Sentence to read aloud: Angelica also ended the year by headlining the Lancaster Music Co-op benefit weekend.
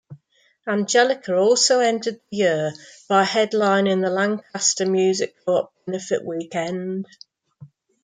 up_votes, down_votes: 2, 0